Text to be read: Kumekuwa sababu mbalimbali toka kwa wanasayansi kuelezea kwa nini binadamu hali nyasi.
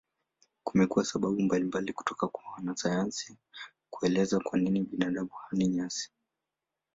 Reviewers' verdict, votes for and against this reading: accepted, 2, 0